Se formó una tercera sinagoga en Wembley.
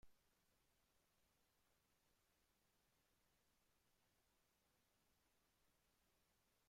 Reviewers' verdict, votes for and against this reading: rejected, 0, 2